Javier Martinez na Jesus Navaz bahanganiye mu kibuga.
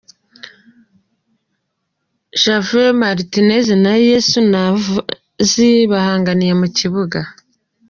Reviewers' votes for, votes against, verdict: 0, 2, rejected